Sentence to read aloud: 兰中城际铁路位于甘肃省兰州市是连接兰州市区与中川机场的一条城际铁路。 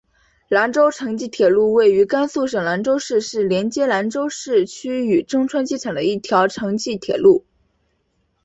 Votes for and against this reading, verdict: 6, 0, accepted